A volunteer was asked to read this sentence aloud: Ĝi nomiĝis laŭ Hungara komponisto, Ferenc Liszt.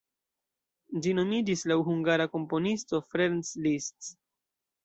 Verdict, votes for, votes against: rejected, 0, 2